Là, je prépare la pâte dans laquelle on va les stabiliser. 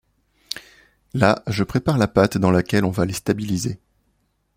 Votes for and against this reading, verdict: 2, 0, accepted